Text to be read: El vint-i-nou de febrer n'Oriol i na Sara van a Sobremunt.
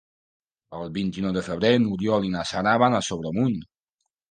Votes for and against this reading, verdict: 2, 0, accepted